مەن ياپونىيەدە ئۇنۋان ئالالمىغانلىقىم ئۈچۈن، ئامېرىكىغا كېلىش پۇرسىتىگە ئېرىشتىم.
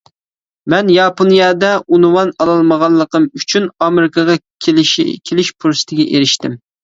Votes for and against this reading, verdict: 0, 2, rejected